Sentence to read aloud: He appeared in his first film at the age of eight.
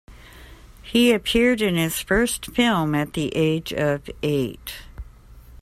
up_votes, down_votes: 2, 0